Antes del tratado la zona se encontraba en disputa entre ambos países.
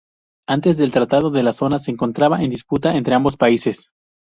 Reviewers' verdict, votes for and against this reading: rejected, 0, 2